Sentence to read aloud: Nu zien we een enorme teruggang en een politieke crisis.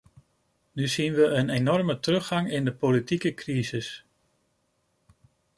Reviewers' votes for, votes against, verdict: 0, 2, rejected